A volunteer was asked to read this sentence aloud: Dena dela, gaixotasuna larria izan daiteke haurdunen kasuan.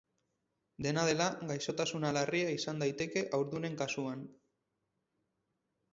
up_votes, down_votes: 2, 0